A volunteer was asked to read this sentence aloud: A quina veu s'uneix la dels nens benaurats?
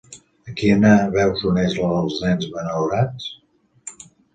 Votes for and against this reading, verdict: 0, 2, rejected